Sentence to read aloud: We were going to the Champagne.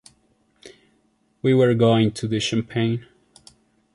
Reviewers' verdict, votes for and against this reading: accepted, 2, 0